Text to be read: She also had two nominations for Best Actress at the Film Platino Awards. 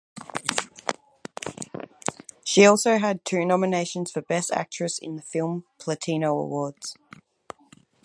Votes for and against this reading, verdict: 0, 4, rejected